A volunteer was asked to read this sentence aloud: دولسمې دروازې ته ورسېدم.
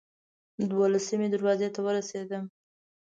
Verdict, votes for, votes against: accepted, 2, 0